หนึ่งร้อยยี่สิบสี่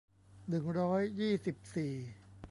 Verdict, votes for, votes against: rejected, 1, 2